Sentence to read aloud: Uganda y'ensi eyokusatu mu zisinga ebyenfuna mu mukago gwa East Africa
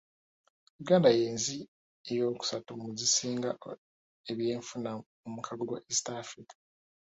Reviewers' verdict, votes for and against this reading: accepted, 2, 1